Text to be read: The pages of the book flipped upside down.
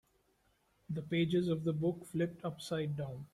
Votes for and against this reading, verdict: 2, 1, accepted